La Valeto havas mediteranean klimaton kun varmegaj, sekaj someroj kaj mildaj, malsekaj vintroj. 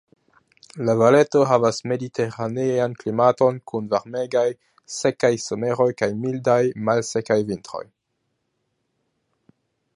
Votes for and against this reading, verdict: 2, 0, accepted